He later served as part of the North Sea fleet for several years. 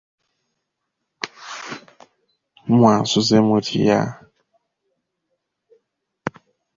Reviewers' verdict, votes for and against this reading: rejected, 0, 2